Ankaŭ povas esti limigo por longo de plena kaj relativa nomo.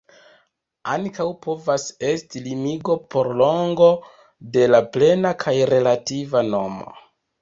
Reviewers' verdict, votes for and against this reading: rejected, 1, 2